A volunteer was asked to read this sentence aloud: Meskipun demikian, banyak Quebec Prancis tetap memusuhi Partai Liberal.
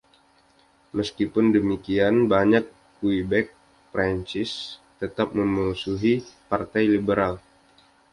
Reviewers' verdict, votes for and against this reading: accepted, 2, 0